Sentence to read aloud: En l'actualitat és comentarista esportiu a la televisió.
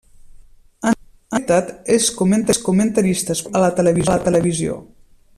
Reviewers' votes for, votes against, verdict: 0, 2, rejected